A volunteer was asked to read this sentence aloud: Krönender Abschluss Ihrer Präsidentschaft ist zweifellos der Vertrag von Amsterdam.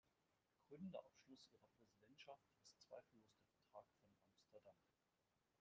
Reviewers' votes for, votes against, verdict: 1, 2, rejected